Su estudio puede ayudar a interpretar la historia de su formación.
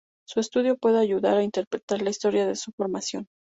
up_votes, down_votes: 4, 0